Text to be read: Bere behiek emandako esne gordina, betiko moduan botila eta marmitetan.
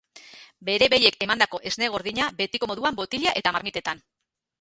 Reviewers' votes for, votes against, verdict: 0, 2, rejected